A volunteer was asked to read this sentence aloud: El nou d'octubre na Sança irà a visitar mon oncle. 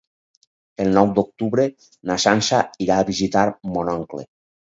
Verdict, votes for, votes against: accepted, 4, 0